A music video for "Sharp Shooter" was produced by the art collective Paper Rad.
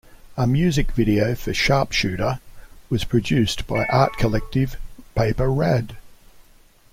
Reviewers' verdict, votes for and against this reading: rejected, 1, 2